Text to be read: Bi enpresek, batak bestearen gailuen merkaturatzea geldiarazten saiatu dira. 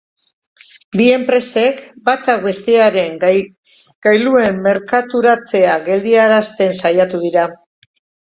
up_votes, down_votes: 0, 2